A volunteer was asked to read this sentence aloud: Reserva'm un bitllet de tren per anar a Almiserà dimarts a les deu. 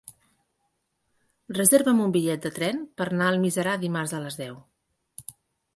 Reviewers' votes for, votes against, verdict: 0, 3, rejected